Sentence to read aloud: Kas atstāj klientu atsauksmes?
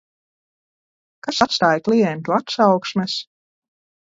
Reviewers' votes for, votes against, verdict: 0, 2, rejected